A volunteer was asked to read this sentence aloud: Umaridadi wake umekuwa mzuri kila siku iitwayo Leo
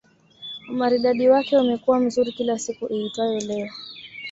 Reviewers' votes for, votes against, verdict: 2, 1, accepted